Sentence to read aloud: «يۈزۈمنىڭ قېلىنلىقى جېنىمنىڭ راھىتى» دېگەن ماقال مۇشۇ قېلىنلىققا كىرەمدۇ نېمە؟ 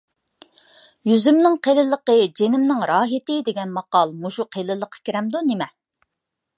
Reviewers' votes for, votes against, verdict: 2, 0, accepted